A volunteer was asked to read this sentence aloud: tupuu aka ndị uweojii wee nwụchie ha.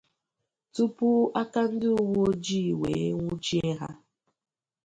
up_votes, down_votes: 2, 0